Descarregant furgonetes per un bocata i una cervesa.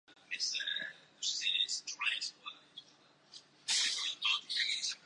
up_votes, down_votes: 0, 2